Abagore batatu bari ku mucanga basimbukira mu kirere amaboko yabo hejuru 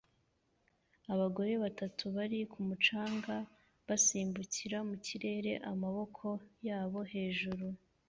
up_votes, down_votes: 2, 0